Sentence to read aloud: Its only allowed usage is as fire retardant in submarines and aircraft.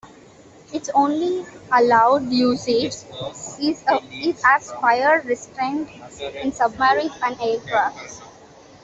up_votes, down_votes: 0, 2